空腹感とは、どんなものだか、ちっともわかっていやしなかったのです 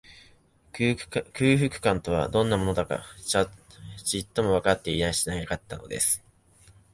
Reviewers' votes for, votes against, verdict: 2, 1, accepted